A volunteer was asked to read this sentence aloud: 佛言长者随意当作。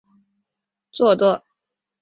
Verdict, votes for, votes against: rejected, 0, 3